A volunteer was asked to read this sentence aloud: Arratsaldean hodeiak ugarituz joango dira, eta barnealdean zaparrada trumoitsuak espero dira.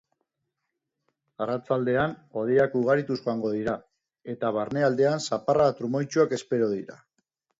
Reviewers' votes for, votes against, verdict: 6, 0, accepted